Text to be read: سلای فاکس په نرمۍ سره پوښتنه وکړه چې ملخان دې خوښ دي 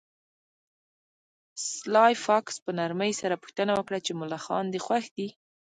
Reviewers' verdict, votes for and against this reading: rejected, 0, 2